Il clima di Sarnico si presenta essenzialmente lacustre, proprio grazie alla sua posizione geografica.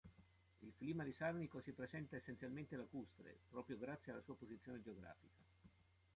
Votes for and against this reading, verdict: 0, 2, rejected